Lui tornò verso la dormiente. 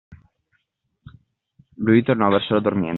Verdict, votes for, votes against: rejected, 0, 2